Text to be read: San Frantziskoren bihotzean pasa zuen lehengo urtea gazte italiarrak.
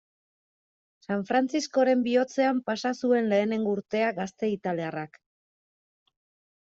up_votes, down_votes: 2, 1